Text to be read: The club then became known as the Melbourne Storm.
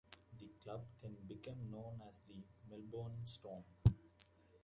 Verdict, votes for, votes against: accepted, 2, 1